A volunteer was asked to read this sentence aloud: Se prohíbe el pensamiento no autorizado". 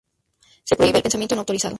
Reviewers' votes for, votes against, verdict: 0, 4, rejected